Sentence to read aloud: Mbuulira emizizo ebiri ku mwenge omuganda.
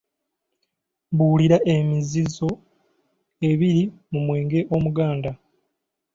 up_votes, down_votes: 0, 2